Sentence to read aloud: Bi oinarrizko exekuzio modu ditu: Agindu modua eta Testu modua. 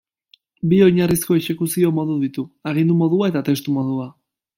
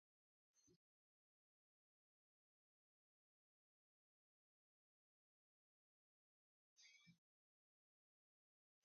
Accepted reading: first